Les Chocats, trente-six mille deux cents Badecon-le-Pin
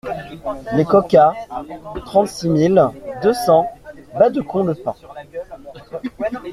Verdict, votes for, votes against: rejected, 0, 2